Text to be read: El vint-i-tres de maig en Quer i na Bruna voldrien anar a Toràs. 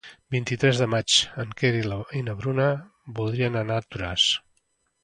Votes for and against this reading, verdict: 0, 2, rejected